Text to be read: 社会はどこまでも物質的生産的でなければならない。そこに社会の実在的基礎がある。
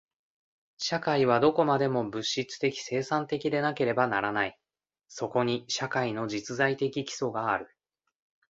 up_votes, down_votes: 2, 0